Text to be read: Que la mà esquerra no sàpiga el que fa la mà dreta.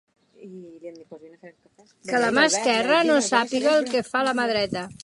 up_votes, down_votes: 1, 2